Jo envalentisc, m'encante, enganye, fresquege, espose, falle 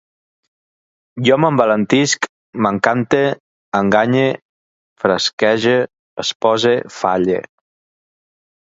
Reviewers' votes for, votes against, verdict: 1, 2, rejected